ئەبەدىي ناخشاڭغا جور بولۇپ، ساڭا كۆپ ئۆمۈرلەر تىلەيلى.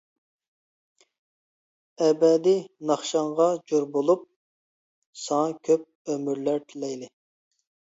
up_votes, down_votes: 2, 0